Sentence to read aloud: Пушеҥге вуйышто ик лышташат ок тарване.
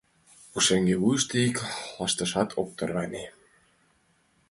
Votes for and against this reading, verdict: 3, 2, accepted